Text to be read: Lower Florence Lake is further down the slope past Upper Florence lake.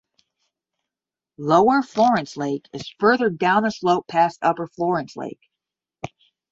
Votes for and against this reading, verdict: 10, 0, accepted